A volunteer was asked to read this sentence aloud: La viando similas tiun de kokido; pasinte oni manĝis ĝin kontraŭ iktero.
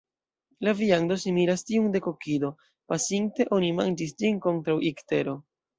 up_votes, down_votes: 0, 2